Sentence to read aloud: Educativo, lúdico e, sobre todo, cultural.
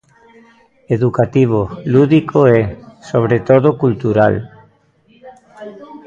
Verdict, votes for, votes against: rejected, 0, 2